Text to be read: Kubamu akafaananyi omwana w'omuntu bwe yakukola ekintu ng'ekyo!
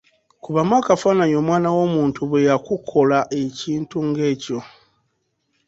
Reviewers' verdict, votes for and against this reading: accepted, 2, 0